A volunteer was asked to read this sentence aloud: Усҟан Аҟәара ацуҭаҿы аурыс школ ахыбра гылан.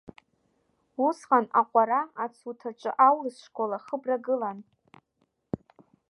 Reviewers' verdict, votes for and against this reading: rejected, 0, 2